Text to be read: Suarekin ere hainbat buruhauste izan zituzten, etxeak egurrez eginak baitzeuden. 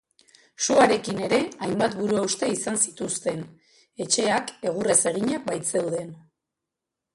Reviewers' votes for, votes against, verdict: 0, 2, rejected